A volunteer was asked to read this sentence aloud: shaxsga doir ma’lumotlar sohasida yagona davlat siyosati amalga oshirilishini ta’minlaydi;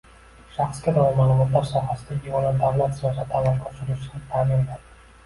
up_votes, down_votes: 1, 2